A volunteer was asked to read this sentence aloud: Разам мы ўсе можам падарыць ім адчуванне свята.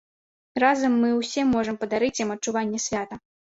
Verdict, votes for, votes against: accepted, 2, 1